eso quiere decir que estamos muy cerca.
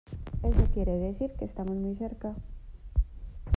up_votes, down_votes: 0, 2